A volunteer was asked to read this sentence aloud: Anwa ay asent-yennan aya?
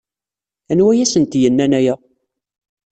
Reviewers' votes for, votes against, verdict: 2, 0, accepted